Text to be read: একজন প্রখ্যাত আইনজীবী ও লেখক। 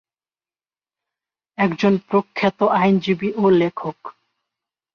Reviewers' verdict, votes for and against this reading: accepted, 4, 0